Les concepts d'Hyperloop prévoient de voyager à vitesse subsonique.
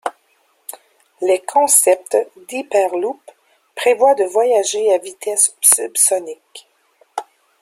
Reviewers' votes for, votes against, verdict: 1, 2, rejected